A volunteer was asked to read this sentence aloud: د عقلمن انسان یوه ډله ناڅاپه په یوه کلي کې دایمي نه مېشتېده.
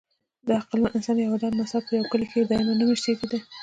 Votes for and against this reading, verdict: 1, 2, rejected